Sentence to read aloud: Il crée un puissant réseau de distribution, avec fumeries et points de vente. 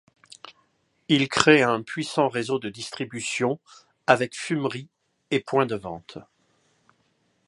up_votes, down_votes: 2, 0